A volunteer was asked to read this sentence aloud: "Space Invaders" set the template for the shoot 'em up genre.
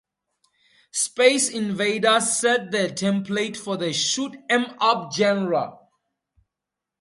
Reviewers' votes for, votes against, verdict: 2, 0, accepted